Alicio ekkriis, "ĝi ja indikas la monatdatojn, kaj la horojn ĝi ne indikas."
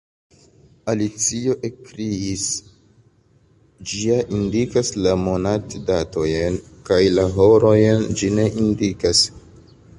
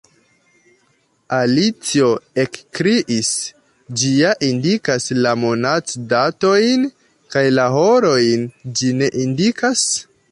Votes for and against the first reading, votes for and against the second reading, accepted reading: 2, 1, 1, 2, first